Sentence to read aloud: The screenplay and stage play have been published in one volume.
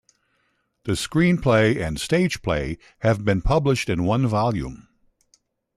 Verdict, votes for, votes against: accepted, 2, 0